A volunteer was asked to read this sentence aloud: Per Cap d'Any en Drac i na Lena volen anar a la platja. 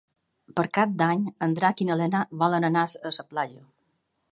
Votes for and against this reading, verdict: 2, 3, rejected